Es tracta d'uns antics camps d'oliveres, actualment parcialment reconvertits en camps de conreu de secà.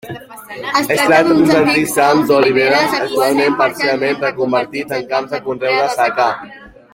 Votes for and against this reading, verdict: 1, 2, rejected